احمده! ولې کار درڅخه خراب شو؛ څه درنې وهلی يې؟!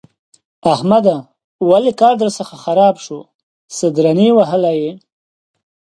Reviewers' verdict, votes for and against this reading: accepted, 2, 0